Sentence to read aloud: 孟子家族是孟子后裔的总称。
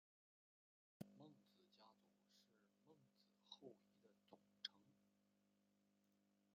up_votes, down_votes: 0, 2